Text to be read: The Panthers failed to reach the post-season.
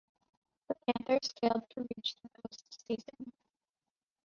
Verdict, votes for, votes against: rejected, 0, 2